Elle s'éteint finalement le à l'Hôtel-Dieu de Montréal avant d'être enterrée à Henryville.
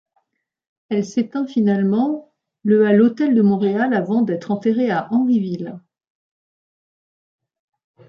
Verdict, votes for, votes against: rejected, 1, 2